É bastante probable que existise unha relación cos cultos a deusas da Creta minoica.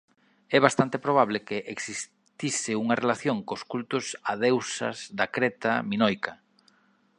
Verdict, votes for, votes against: rejected, 1, 2